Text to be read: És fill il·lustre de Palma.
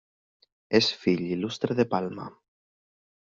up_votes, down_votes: 2, 0